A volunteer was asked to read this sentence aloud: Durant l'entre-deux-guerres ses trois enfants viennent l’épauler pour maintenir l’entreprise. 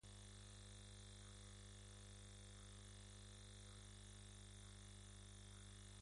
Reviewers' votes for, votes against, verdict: 0, 2, rejected